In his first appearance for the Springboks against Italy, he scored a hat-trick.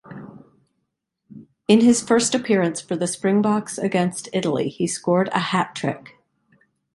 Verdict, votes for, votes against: accepted, 2, 0